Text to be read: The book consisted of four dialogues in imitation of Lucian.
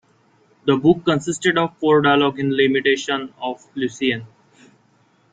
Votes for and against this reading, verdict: 1, 2, rejected